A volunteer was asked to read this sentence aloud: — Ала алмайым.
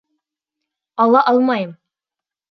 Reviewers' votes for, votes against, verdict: 2, 0, accepted